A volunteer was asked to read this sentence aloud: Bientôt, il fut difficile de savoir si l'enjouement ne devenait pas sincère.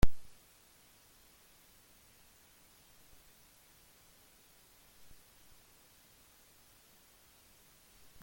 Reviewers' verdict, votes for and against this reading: rejected, 0, 2